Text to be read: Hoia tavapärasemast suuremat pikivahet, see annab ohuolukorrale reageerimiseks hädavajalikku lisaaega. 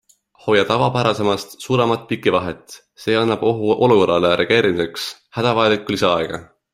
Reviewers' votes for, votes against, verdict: 2, 0, accepted